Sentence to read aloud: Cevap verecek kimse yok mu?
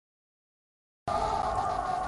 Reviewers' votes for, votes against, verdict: 0, 2, rejected